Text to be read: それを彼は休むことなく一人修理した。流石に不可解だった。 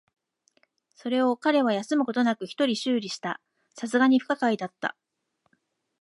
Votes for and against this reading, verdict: 2, 0, accepted